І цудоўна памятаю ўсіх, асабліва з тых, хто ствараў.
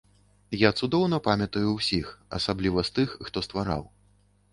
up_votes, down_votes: 1, 2